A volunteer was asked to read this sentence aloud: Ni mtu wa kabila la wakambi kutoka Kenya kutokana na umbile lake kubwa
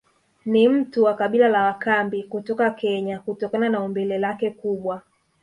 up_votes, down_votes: 0, 2